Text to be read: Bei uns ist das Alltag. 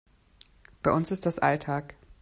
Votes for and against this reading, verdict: 2, 0, accepted